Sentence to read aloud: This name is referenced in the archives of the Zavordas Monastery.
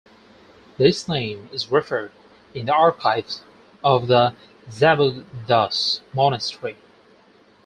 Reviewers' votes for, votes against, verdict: 0, 4, rejected